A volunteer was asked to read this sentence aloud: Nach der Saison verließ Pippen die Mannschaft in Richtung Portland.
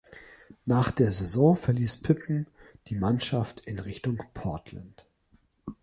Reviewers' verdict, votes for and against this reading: accepted, 2, 1